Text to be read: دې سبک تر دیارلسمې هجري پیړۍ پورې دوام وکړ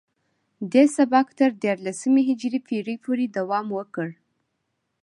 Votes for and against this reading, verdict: 2, 0, accepted